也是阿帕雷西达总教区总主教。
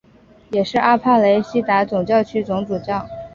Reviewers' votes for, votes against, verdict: 5, 1, accepted